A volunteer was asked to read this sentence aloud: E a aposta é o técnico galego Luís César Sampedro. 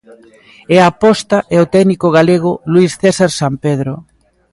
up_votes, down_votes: 2, 1